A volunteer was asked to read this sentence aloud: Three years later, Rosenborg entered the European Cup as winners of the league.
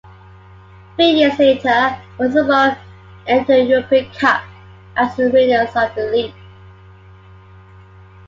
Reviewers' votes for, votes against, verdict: 2, 0, accepted